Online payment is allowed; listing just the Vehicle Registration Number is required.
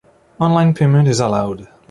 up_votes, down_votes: 0, 2